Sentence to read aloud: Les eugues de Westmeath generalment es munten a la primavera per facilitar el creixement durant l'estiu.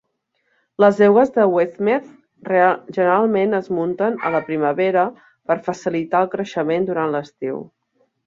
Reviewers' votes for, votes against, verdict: 0, 2, rejected